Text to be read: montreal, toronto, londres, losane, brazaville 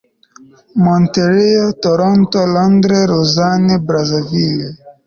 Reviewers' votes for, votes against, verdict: 1, 2, rejected